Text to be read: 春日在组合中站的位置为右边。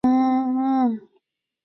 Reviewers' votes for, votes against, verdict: 0, 2, rejected